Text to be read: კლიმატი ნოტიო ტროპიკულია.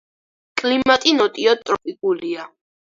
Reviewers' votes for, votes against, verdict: 4, 2, accepted